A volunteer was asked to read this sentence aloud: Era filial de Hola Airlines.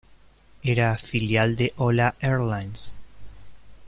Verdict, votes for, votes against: accepted, 2, 0